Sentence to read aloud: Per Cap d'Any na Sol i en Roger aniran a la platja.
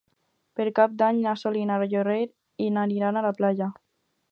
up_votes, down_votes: 0, 4